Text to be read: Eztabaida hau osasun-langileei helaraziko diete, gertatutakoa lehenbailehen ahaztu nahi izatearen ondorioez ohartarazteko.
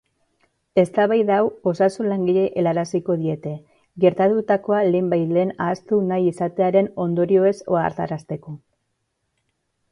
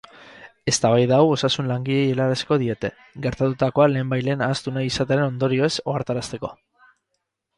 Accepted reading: first